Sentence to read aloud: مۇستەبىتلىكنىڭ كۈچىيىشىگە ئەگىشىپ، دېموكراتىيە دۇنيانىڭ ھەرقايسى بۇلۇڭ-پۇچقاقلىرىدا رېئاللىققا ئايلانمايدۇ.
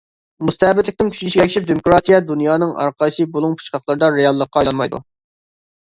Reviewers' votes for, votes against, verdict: 0, 2, rejected